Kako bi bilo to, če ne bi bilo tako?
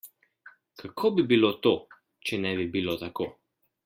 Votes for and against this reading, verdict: 2, 0, accepted